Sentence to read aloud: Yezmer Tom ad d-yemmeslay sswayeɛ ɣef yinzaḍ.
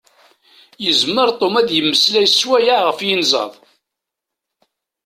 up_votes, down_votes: 2, 0